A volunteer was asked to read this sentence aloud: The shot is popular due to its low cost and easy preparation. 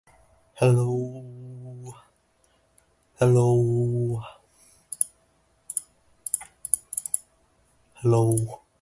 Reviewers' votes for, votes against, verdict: 0, 2, rejected